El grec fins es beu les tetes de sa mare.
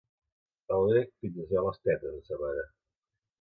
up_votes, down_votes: 2, 0